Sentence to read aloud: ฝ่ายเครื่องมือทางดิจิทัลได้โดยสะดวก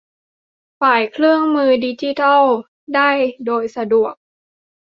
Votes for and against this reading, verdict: 0, 2, rejected